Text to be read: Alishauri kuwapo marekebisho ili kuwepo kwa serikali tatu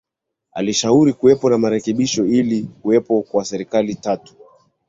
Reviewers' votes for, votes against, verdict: 2, 0, accepted